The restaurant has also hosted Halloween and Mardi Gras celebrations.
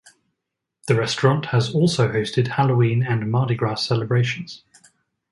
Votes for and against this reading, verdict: 4, 0, accepted